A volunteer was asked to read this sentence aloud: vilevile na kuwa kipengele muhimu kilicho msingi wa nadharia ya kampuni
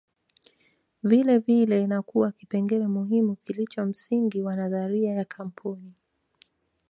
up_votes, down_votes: 0, 2